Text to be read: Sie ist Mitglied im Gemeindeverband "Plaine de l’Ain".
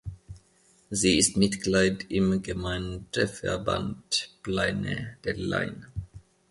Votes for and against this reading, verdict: 2, 1, accepted